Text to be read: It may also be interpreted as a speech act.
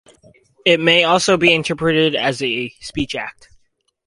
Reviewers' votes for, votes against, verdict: 4, 0, accepted